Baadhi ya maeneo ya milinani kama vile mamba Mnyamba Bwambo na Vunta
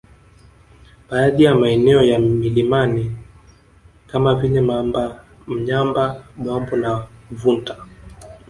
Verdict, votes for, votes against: rejected, 0, 2